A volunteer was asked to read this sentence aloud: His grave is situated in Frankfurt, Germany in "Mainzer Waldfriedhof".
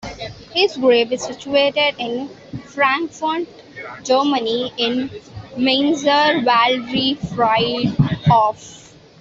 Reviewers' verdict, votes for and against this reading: rejected, 0, 2